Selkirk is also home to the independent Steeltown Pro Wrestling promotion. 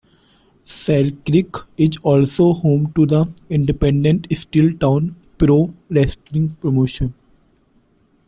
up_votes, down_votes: 2, 0